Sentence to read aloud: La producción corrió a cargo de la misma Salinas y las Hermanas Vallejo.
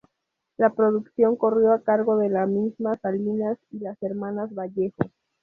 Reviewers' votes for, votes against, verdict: 0, 2, rejected